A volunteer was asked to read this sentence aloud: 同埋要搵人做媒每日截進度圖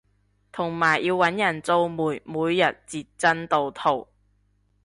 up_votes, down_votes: 2, 0